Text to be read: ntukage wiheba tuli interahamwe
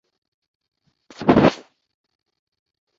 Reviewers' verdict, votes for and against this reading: rejected, 0, 2